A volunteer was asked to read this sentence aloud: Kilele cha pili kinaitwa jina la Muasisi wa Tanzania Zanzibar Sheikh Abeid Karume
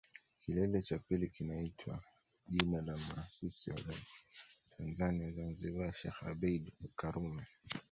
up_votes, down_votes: 2, 1